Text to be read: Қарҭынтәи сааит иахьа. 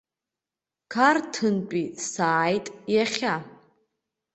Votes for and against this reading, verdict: 2, 0, accepted